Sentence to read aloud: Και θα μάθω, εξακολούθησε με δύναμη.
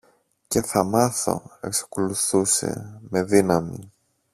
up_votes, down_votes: 0, 2